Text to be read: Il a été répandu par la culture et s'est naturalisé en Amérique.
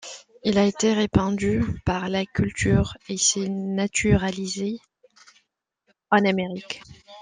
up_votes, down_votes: 2, 0